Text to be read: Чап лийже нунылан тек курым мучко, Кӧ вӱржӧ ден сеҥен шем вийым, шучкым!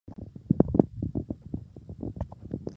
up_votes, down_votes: 1, 2